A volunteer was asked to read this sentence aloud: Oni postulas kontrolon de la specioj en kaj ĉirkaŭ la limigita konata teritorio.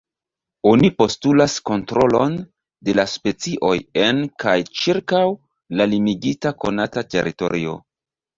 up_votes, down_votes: 1, 2